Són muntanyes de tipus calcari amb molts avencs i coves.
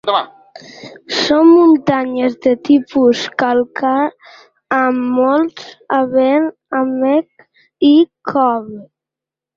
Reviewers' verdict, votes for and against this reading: rejected, 1, 2